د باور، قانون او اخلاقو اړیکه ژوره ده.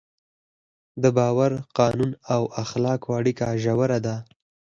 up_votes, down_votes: 0, 4